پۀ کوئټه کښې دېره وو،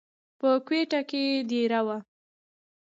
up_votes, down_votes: 1, 2